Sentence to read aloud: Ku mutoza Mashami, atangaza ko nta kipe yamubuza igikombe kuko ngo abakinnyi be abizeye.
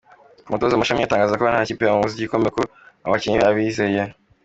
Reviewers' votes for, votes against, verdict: 2, 0, accepted